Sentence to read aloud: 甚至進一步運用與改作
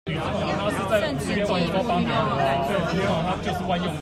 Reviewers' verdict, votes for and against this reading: rejected, 1, 2